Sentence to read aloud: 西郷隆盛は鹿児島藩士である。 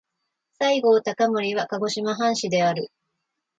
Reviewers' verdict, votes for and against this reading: rejected, 1, 2